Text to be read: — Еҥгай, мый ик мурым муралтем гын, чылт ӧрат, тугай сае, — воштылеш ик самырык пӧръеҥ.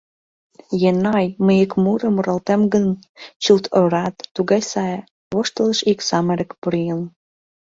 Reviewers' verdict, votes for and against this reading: rejected, 0, 2